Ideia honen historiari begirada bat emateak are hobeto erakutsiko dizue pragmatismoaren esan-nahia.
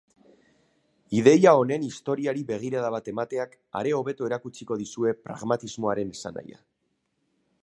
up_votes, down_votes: 2, 0